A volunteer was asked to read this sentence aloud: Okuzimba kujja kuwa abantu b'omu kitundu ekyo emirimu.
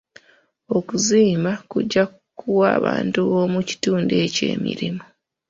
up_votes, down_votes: 1, 2